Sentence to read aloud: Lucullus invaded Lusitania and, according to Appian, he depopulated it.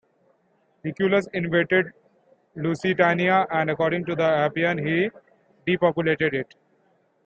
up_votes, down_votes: 2, 0